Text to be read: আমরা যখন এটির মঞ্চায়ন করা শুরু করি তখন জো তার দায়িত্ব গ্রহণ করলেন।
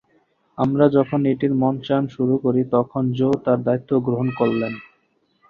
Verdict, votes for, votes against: rejected, 1, 2